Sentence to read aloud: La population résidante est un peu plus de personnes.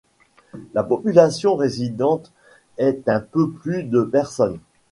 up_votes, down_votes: 2, 0